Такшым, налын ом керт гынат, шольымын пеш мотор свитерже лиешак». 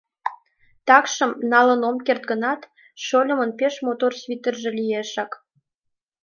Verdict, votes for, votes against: accepted, 2, 0